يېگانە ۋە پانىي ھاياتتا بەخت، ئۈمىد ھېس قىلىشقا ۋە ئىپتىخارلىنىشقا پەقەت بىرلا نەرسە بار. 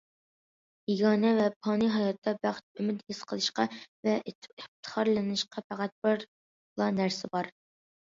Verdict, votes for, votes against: accepted, 2, 1